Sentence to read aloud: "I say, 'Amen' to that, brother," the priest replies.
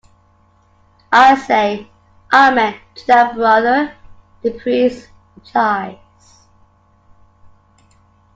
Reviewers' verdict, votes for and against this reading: accepted, 2, 0